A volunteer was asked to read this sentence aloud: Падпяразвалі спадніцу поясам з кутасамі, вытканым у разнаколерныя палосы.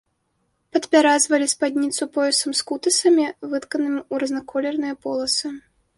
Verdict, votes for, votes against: rejected, 1, 3